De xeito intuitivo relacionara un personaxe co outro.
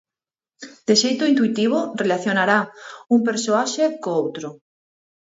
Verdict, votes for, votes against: rejected, 0, 4